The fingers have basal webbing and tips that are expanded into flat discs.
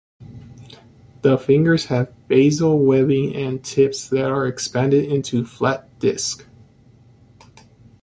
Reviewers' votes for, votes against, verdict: 1, 2, rejected